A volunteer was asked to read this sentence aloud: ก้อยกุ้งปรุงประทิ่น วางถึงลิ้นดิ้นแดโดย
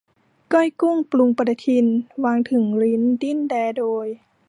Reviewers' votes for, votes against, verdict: 1, 2, rejected